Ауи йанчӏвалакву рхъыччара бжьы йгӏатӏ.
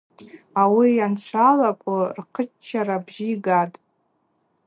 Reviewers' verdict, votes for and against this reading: accepted, 2, 0